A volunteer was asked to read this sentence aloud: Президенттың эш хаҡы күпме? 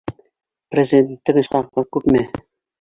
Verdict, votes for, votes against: rejected, 1, 2